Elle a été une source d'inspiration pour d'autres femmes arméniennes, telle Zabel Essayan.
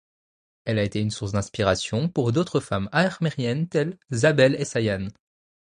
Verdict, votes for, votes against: rejected, 0, 2